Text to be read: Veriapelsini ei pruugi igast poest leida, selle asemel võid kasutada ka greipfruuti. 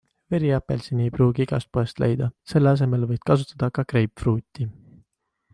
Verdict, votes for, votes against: accepted, 2, 0